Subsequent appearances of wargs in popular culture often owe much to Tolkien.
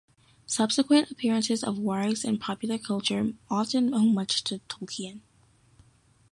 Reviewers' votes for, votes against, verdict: 2, 0, accepted